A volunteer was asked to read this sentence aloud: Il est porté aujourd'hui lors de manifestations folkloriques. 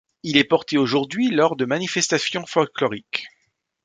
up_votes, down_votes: 1, 2